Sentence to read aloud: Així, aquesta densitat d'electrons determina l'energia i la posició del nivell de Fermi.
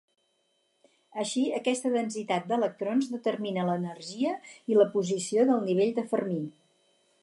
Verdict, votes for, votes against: accepted, 4, 2